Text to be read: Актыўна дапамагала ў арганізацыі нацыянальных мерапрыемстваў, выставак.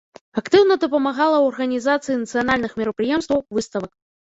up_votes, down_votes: 1, 2